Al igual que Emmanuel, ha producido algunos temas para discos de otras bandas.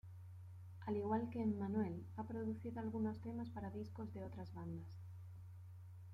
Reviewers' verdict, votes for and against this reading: accepted, 2, 0